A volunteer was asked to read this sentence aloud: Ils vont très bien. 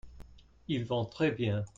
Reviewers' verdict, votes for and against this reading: accepted, 2, 0